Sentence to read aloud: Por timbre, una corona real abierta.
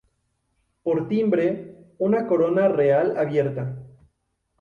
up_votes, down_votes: 0, 2